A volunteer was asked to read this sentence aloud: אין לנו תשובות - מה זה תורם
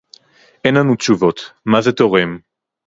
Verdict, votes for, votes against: accepted, 4, 0